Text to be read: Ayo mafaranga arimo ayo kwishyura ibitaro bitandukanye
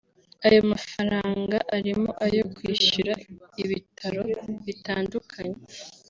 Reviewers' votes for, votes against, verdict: 2, 0, accepted